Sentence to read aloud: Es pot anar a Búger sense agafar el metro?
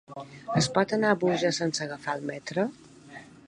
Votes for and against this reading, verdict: 2, 0, accepted